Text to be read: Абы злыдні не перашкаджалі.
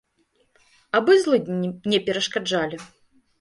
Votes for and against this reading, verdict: 1, 2, rejected